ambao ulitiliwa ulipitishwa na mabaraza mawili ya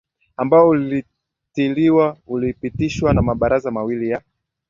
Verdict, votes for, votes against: accepted, 2, 0